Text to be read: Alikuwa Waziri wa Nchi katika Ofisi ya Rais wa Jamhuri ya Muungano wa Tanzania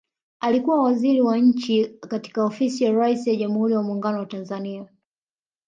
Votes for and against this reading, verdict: 3, 1, accepted